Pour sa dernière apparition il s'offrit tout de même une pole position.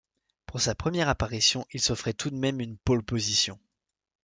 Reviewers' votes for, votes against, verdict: 1, 2, rejected